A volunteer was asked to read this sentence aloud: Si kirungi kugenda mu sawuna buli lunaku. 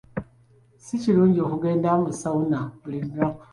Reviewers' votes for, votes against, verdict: 2, 1, accepted